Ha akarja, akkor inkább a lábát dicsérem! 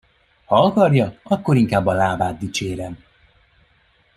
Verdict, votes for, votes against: accepted, 2, 0